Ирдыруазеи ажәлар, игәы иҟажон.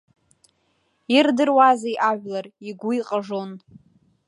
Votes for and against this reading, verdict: 1, 2, rejected